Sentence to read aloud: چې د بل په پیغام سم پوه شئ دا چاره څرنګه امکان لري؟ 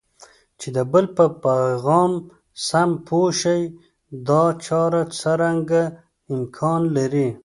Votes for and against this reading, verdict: 2, 0, accepted